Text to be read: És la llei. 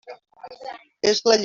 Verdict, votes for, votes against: rejected, 0, 2